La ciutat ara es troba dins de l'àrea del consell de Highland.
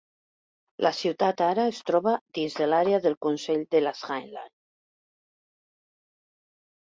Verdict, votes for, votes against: rejected, 0, 2